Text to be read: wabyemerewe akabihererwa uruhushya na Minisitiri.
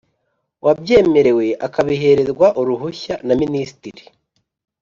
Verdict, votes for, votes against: accepted, 2, 0